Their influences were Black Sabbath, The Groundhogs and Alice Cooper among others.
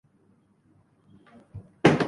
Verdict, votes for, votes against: rejected, 1, 3